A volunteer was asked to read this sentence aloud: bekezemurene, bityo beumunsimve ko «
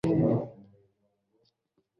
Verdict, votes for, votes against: rejected, 0, 2